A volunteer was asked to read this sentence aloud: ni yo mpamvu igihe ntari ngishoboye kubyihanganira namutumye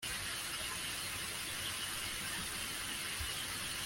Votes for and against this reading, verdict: 1, 2, rejected